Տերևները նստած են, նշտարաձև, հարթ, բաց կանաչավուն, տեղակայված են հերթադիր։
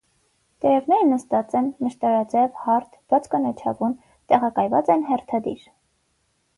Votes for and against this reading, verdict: 9, 0, accepted